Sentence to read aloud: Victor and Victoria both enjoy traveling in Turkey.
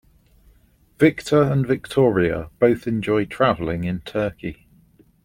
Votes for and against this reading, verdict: 2, 0, accepted